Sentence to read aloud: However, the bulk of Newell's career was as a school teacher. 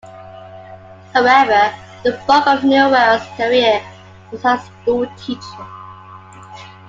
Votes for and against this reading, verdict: 2, 1, accepted